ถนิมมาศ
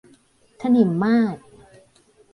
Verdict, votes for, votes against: accepted, 2, 0